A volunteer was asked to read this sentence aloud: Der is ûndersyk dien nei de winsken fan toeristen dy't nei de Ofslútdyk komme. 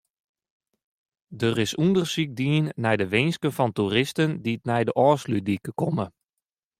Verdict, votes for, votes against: rejected, 0, 2